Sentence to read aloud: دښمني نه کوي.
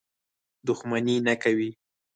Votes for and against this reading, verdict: 4, 2, accepted